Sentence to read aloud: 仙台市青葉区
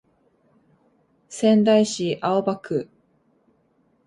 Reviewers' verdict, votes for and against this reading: accepted, 2, 0